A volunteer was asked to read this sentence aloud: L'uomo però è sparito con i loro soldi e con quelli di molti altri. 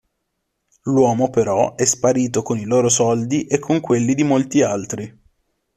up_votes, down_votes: 2, 0